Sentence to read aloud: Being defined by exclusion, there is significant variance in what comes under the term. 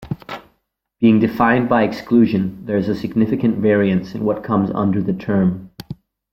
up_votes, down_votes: 1, 2